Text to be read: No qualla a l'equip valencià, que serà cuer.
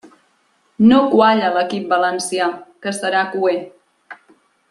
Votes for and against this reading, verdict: 2, 0, accepted